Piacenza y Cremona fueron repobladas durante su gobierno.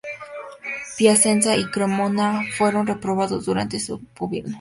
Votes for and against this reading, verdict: 2, 2, rejected